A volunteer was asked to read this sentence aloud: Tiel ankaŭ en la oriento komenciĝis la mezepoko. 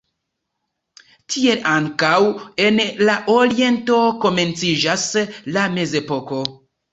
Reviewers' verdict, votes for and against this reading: rejected, 0, 2